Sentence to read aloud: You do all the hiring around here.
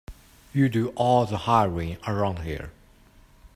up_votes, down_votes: 1, 2